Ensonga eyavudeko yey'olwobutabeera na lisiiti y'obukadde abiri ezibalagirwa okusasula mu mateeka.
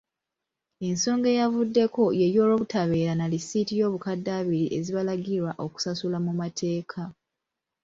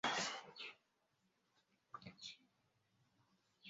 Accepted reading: first